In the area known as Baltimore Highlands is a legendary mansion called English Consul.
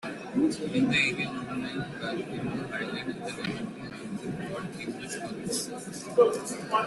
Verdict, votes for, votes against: rejected, 0, 2